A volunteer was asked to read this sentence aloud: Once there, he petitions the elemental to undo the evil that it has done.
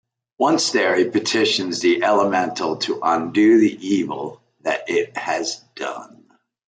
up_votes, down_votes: 2, 0